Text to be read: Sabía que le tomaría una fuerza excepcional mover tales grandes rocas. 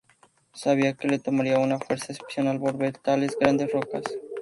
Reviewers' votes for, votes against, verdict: 2, 2, rejected